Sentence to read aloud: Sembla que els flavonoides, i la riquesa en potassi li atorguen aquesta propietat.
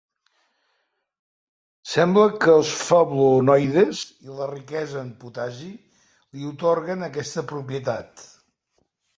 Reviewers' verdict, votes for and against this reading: rejected, 1, 2